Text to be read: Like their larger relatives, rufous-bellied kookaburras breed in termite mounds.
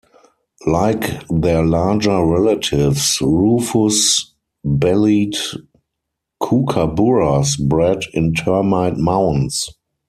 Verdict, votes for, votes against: rejected, 2, 4